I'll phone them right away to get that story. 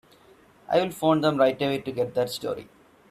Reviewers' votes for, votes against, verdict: 3, 0, accepted